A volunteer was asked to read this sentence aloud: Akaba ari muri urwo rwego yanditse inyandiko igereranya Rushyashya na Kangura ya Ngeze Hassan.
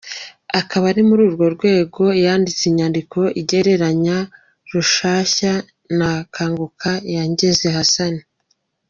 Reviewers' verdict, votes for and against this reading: rejected, 0, 2